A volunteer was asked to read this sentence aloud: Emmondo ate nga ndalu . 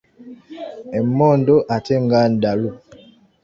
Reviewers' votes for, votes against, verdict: 2, 0, accepted